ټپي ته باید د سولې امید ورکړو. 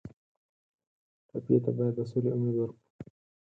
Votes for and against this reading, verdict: 2, 4, rejected